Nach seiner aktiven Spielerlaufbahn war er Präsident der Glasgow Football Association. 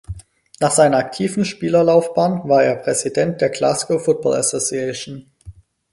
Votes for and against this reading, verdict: 4, 0, accepted